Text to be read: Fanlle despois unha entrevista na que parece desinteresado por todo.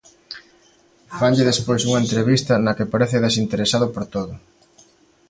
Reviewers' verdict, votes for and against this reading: accepted, 2, 0